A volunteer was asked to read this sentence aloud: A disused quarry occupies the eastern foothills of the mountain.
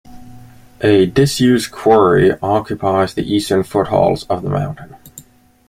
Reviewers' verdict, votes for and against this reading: rejected, 0, 2